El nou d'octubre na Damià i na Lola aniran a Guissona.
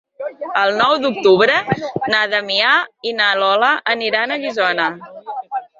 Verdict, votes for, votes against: accepted, 2, 1